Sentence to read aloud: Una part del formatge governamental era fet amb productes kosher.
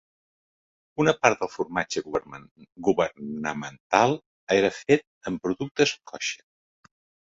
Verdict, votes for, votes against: rejected, 1, 2